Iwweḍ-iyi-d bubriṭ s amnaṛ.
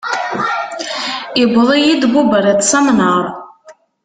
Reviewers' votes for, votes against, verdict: 1, 2, rejected